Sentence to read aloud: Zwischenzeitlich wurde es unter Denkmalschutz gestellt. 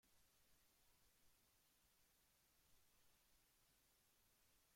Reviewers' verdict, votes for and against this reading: rejected, 0, 2